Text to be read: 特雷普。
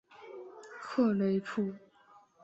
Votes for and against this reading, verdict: 4, 0, accepted